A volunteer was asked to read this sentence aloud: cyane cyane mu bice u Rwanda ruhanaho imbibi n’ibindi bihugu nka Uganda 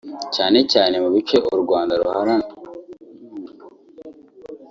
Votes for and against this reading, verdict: 0, 4, rejected